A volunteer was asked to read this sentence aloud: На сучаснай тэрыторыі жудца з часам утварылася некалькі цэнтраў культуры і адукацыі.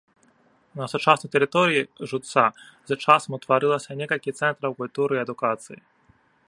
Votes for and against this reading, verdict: 2, 0, accepted